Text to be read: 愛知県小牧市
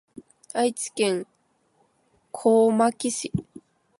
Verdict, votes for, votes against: rejected, 1, 3